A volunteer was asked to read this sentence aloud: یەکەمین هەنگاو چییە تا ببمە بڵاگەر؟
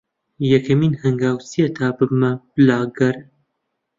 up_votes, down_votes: 0, 2